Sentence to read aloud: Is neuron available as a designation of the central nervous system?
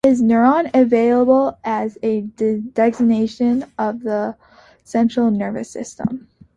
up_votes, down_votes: 2, 1